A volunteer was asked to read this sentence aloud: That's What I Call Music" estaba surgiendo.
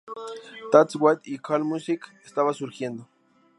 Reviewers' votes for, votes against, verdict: 0, 2, rejected